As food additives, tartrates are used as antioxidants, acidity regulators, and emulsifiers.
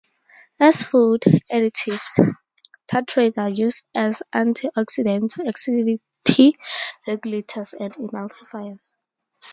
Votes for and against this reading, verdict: 2, 2, rejected